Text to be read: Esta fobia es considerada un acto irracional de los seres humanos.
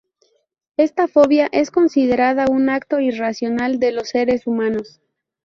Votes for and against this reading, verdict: 2, 0, accepted